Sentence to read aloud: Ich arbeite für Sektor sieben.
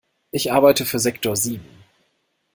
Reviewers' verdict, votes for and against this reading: accepted, 2, 0